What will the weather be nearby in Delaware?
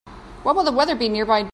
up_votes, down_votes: 0, 2